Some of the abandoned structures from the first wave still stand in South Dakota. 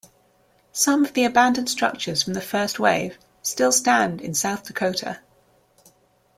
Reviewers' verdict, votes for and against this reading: accepted, 2, 0